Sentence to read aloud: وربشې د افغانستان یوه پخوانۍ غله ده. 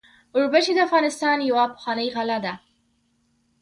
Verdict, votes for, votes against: accepted, 2, 0